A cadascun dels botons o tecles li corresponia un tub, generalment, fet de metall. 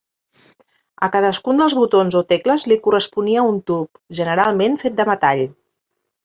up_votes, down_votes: 3, 1